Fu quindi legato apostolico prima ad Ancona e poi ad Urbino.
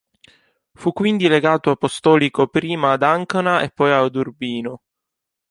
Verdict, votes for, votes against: rejected, 0, 2